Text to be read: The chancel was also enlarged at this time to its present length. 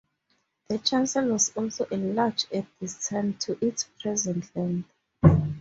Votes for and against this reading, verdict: 4, 0, accepted